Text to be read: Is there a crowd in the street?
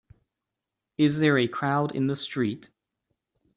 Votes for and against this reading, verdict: 2, 0, accepted